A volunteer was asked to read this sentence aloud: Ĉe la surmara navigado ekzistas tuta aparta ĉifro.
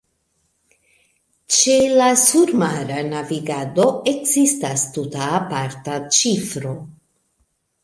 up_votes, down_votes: 2, 1